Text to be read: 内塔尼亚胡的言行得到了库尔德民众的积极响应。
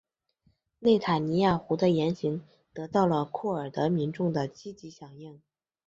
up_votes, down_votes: 5, 0